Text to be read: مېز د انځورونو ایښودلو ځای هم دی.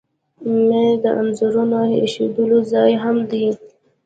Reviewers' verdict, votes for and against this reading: accepted, 2, 1